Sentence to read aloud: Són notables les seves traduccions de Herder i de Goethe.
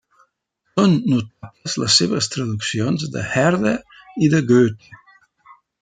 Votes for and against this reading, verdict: 0, 2, rejected